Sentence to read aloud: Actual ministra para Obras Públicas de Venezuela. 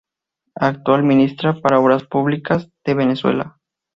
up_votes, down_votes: 0, 2